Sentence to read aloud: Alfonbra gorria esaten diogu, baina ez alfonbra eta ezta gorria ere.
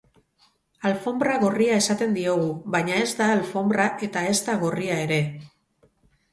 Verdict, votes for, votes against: rejected, 2, 2